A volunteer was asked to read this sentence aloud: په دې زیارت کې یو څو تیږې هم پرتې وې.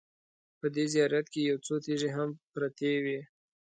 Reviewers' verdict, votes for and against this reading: accepted, 2, 0